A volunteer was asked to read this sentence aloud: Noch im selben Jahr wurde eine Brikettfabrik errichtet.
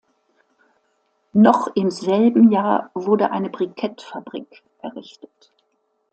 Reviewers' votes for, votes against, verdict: 2, 0, accepted